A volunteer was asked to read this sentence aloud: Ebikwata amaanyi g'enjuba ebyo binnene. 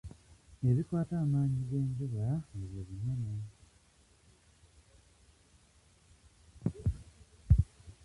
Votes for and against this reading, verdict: 1, 2, rejected